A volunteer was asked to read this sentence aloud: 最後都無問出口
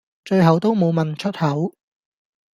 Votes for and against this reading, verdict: 2, 0, accepted